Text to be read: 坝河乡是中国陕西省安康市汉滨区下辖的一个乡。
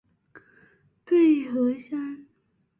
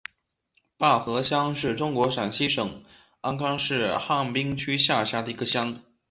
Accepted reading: second